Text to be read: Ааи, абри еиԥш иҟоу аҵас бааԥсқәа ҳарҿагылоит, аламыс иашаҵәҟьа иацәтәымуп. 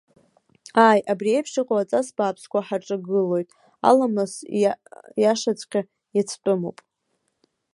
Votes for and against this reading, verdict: 0, 2, rejected